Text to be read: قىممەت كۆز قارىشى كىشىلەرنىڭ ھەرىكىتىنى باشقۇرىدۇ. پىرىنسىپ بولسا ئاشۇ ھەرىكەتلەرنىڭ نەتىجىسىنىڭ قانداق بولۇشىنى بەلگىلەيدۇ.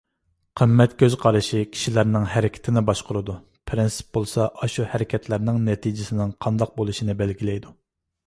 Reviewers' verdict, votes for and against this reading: accepted, 2, 0